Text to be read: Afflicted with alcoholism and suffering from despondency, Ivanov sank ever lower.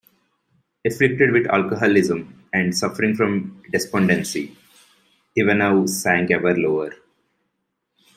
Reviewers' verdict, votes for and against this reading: accepted, 2, 0